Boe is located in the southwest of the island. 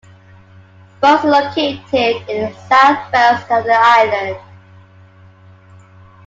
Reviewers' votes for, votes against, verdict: 0, 2, rejected